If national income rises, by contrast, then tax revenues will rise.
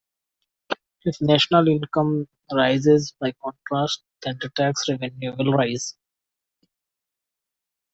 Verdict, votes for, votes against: rejected, 1, 2